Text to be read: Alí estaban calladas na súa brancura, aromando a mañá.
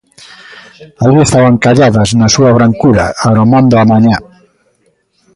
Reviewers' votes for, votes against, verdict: 0, 2, rejected